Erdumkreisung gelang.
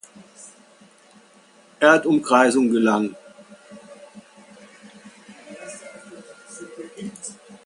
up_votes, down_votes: 2, 0